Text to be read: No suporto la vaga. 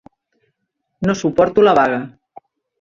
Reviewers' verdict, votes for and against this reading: accepted, 3, 1